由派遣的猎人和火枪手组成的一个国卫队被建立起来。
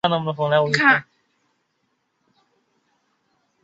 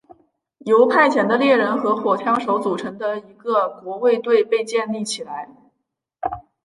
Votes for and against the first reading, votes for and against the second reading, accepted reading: 0, 3, 3, 0, second